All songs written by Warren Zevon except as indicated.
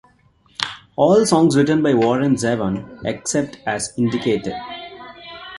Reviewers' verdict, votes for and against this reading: accepted, 2, 0